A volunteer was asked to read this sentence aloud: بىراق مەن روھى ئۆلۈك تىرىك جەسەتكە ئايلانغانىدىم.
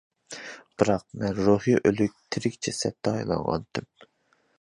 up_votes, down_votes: 0, 2